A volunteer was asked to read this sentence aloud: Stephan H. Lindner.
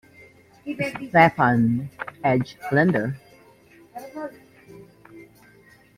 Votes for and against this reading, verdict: 2, 1, accepted